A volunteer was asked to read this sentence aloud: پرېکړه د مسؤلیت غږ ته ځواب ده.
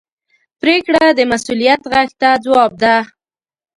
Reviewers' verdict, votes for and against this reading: accepted, 2, 0